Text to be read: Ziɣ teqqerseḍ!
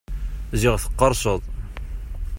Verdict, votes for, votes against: accepted, 2, 0